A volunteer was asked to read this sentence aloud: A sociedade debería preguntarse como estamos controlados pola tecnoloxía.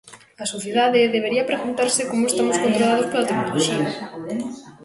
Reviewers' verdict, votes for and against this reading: rejected, 0, 2